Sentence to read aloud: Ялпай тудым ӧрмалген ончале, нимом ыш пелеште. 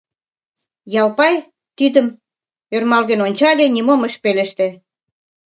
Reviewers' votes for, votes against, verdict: 1, 2, rejected